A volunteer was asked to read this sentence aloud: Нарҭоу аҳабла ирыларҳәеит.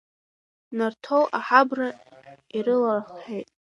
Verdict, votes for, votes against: rejected, 0, 2